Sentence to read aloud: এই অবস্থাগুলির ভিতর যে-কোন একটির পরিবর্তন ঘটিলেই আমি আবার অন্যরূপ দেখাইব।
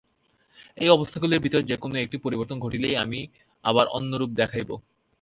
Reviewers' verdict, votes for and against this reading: rejected, 2, 2